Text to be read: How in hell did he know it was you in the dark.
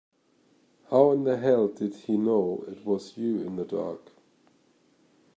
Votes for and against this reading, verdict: 0, 2, rejected